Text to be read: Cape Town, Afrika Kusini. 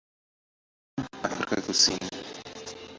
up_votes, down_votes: 0, 2